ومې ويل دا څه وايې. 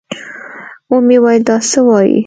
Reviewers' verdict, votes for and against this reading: accepted, 2, 0